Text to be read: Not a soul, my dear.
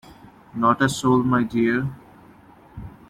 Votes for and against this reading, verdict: 2, 1, accepted